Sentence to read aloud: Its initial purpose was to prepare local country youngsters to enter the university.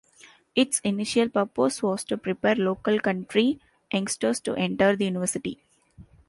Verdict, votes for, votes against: rejected, 0, 2